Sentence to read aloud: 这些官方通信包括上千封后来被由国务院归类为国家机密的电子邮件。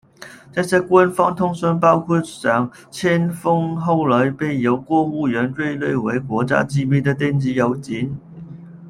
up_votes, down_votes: 0, 2